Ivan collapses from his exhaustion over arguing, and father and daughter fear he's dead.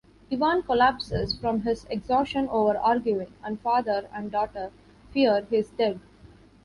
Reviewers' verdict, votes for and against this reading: accepted, 2, 0